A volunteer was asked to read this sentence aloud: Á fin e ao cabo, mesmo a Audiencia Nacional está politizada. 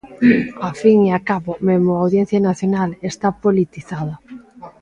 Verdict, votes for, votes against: rejected, 1, 2